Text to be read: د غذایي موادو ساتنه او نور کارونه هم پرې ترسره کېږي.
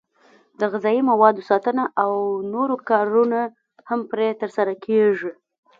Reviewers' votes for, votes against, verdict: 2, 0, accepted